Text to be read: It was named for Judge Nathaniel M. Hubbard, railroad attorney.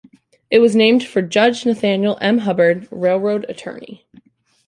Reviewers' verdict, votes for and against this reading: accepted, 2, 0